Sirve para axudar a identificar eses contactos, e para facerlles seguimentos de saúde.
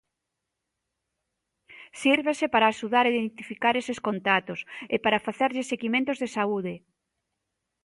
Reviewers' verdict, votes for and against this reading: rejected, 0, 3